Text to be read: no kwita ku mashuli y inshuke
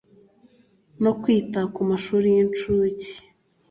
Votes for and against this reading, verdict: 2, 0, accepted